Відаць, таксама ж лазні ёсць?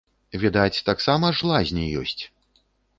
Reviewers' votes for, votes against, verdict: 2, 0, accepted